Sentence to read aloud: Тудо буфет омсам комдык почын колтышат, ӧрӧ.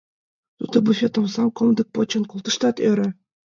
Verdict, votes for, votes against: rejected, 1, 2